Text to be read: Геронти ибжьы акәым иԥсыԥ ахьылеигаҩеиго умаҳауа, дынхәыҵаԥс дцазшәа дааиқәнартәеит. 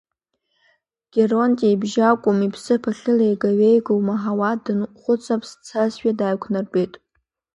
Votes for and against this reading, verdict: 2, 0, accepted